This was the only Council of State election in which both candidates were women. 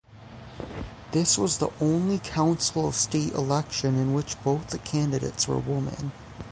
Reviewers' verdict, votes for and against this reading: rejected, 0, 3